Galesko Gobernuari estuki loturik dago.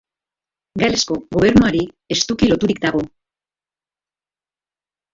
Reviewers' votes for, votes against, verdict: 1, 4, rejected